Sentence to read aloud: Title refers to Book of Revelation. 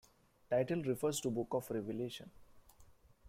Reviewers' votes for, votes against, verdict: 2, 0, accepted